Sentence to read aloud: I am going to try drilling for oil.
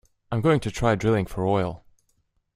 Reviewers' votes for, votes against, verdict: 1, 2, rejected